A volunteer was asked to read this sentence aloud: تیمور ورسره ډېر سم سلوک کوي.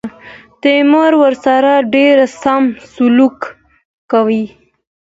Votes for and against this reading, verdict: 2, 0, accepted